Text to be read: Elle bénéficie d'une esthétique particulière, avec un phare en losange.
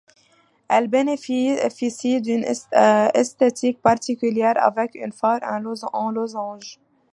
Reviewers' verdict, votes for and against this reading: accepted, 2, 0